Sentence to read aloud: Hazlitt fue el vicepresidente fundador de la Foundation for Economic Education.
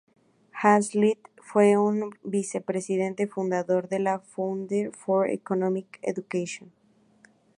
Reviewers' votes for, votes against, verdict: 0, 2, rejected